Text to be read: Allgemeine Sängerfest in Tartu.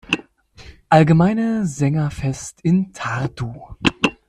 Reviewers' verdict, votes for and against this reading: accepted, 2, 0